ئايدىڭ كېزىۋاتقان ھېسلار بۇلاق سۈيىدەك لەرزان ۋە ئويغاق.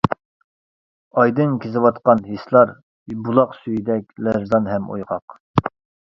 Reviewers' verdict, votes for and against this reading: rejected, 0, 2